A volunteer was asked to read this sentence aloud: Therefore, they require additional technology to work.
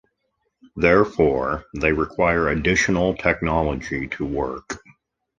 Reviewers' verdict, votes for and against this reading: accepted, 2, 0